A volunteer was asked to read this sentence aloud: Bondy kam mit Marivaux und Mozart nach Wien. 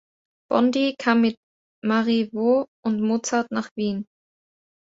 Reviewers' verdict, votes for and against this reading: accepted, 3, 0